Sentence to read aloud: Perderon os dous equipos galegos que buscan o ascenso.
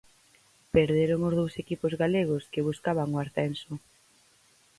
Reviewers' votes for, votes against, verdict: 0, 4, rejected